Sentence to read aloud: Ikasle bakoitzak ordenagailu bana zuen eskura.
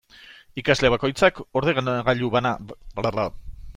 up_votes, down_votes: 0, 2